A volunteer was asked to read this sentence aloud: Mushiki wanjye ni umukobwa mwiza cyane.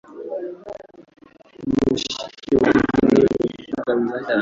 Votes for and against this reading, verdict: 0, 2, rejected